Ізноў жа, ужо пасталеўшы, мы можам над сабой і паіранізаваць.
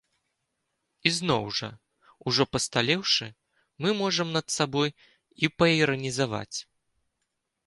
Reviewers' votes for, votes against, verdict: 2, 0, accepted